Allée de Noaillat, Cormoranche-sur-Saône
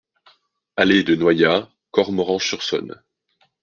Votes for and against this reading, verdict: 2, 0, accepted